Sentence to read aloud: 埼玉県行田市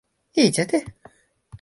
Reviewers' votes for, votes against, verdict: 1, 2, rejected